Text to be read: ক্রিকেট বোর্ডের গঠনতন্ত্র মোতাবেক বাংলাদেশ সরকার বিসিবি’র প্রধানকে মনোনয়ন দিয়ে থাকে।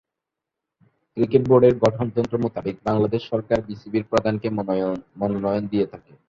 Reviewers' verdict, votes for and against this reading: rejected, 4, 4